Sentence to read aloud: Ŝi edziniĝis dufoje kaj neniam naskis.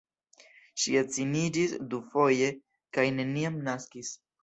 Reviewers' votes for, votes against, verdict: 2, 0, accepted